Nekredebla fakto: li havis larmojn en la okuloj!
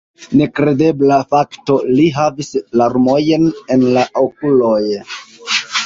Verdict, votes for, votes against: accepted, 2, 1